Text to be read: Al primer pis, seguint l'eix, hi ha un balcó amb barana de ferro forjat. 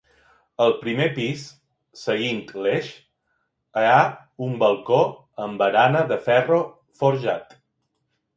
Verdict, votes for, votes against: rejected, 0, 3